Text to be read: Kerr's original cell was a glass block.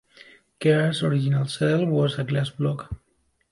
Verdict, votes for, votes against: accepted, 2, 0